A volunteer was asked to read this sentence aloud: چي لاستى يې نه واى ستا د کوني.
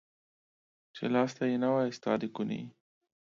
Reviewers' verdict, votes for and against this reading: accepted, 2, 1